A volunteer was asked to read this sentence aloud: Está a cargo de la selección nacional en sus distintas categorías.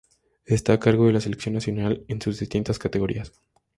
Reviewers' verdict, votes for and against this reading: accepted, 4, 0